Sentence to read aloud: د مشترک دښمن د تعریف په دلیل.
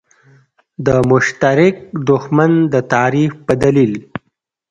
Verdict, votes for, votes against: rejected, 1, 2